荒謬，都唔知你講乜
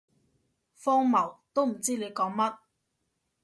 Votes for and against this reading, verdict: 2, 0, accepted